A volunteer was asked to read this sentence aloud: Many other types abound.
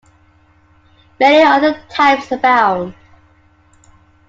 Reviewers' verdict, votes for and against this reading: accepted, 2, 1